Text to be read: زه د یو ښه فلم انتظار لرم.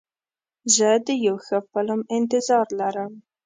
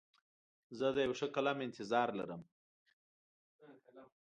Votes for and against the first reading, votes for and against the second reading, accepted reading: 2, 0, 1, 2, first